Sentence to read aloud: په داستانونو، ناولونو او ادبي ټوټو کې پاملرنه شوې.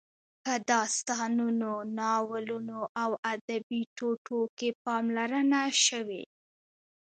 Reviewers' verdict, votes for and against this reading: rejected, 0, 2